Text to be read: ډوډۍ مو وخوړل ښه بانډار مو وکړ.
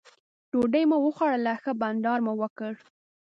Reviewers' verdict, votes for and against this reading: accepted, 2, 0